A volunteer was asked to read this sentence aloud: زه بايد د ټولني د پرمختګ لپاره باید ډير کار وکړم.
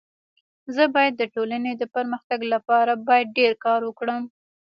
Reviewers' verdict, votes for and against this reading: rejected, 1, 2